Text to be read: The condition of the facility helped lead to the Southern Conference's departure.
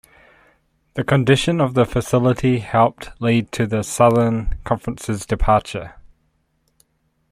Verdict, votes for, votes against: accepted, 2, 0